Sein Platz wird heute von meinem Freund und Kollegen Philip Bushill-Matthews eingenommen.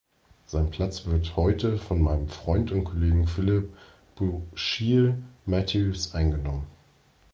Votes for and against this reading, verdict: 1, 2, rejected